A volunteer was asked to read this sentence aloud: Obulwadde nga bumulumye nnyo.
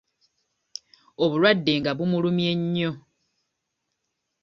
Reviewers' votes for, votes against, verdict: 0, 2, rejected